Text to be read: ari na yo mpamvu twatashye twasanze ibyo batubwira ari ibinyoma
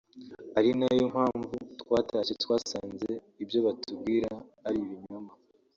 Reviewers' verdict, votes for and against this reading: accepted, 5, 0